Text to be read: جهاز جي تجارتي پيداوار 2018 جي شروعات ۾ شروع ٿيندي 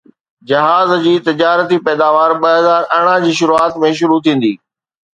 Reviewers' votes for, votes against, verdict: 0, 2, rejected